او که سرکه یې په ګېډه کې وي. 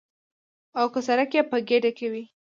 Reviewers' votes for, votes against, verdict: 0, 2, rejected